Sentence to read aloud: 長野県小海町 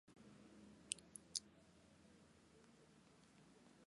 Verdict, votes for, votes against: rejected, 0, 3